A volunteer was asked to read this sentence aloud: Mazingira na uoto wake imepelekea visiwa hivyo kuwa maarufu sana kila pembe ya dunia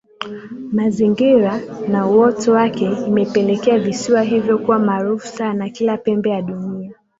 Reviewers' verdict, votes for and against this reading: accepted, 2, 0